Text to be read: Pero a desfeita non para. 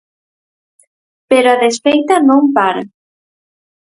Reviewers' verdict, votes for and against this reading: accepted, 4, 0